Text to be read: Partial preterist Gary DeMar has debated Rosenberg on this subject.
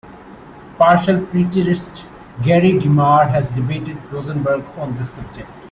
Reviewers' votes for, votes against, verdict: 2, 0, accepted